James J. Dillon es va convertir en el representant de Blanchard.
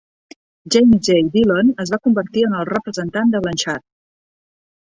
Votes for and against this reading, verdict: 2, 0, accepted